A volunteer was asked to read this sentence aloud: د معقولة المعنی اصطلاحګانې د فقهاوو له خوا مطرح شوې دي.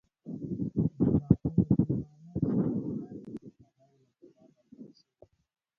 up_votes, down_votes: 0, 2